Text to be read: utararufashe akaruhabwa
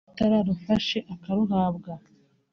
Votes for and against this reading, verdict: 1, 2, rejected